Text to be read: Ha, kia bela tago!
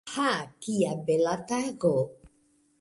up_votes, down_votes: 3, 1